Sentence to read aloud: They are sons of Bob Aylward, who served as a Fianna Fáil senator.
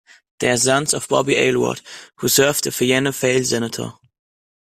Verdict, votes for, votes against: rejected, 1, 2